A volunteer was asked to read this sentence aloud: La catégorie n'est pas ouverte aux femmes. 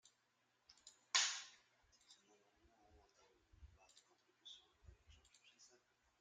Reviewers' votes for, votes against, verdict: 0, 2, rejected